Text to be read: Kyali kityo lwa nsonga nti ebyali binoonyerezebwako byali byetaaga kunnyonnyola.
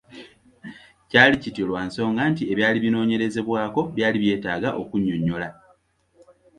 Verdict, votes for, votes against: accepted, 2, 0